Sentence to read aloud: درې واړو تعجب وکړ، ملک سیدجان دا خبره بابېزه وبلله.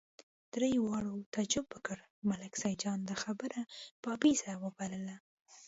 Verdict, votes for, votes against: rejected, 0, 2